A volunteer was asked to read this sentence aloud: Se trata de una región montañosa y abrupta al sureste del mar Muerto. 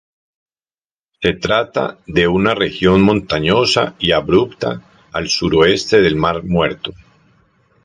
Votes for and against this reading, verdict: 0, 2, rejected